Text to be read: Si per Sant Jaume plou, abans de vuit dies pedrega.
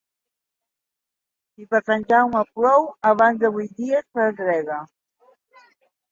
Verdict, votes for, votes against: accepted, 2, 0